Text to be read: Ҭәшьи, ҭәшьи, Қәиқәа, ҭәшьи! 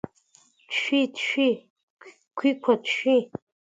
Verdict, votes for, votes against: accepted, 2, 0